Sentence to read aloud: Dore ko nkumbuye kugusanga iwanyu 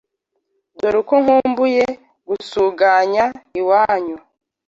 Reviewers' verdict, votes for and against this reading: rejected, 0, 2